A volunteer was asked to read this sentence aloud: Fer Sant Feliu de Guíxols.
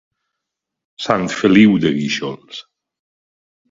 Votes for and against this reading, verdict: 1, 2, rejected